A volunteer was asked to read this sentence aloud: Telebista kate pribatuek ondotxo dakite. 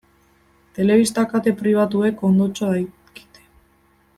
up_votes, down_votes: 1, 2